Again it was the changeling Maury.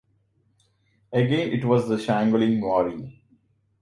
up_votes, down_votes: 0, 2